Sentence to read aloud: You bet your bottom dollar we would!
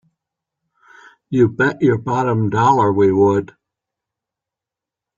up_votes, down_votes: 4, 0